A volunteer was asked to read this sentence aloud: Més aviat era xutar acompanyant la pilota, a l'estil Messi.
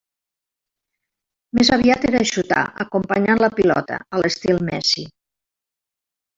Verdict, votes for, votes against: rejected, 1, 2